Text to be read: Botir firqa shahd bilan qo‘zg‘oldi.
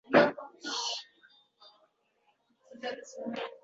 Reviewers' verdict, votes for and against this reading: rejected, 0, 2